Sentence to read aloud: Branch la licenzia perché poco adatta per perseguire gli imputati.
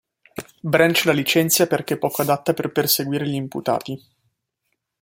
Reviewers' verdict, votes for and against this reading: accepted, 2, 0